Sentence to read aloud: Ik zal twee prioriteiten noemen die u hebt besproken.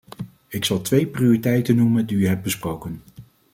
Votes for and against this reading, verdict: 2, 0, accepted